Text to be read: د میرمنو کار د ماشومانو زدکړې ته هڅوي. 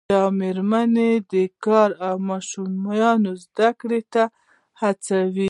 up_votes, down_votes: 1, 2